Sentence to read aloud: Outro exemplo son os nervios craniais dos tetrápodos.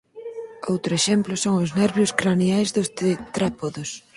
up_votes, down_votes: 0, 4